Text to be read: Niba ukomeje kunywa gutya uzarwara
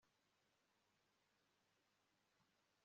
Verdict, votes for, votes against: rejected, 0, 2